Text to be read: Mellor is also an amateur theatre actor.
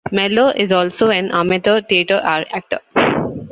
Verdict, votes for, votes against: rejected, 0, 2